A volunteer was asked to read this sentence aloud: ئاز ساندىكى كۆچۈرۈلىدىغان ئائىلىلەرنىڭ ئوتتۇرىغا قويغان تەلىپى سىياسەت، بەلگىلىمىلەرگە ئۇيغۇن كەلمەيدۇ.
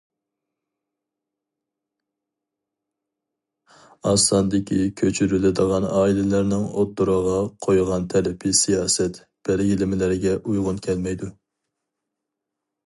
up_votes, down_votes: 4, 0